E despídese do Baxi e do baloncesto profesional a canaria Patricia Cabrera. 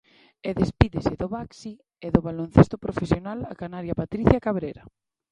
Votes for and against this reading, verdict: 0, 2, rejected